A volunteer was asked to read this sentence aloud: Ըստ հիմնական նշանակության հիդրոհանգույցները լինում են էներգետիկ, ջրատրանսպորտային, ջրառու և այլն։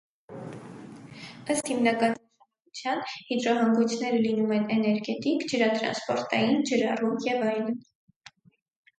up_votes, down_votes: 0, 4